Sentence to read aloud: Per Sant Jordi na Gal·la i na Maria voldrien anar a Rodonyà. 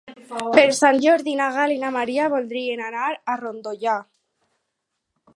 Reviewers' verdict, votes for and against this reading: rejected, 0, 4